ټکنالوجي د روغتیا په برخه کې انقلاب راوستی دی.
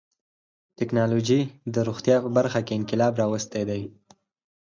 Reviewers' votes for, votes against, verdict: 0, 4, rejected